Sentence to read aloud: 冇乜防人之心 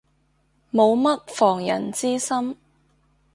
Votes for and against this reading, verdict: 2, 0, accepted